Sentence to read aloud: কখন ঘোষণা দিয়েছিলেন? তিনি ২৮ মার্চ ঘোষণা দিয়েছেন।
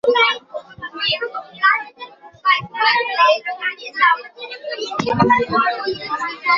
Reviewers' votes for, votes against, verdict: 0, 2, rejected